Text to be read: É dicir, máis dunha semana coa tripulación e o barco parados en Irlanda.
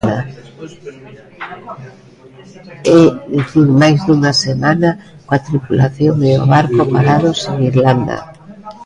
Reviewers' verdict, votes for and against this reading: rejected, 0, 2